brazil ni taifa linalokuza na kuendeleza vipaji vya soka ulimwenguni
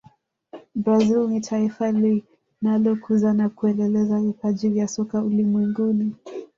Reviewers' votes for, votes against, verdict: 0, 2, rejected